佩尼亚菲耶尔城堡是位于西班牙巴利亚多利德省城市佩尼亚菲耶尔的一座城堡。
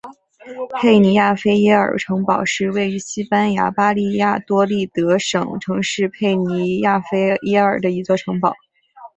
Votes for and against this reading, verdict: 2, 0, accepted